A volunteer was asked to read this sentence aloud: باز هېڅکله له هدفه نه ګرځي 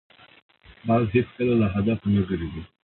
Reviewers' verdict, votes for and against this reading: accepted, 4, 2